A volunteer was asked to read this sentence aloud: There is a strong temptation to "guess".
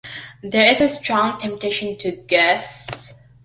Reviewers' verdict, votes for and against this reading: accepted, 2, 0